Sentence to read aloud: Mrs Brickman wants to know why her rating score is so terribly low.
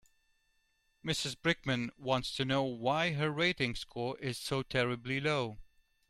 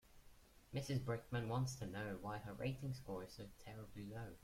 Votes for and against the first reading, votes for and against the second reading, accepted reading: 2, 0, 0, 2, first